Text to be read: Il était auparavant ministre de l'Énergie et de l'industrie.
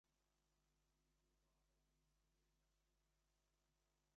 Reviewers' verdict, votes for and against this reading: rejected, 0, 2